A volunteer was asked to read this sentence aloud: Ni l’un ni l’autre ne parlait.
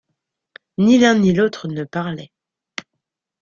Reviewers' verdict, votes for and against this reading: accepted, 2, 0